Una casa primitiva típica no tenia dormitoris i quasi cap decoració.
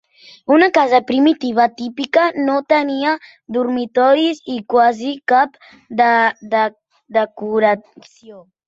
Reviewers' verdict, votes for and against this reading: rejected, 0, 2